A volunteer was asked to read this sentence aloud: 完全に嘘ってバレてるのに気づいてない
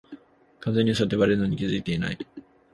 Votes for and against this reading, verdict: 2, 1, accepted